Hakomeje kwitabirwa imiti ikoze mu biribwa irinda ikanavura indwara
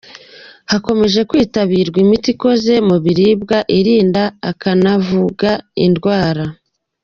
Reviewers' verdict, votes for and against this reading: rejected, 0, 2